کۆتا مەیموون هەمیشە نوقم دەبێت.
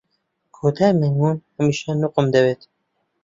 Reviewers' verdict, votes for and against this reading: rejected, 0, 2